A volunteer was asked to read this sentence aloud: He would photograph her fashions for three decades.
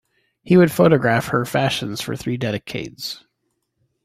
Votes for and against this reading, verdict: 1, 2, rejected